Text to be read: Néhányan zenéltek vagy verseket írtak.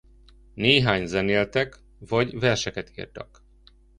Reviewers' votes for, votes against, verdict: 0, 2, rejected